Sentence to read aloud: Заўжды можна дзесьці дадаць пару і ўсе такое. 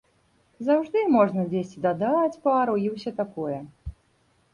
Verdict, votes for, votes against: rejected, 0, 2